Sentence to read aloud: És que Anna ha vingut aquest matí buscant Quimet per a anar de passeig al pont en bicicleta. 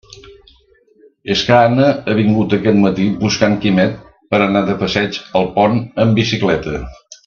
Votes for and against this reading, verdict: 2, 0, accepted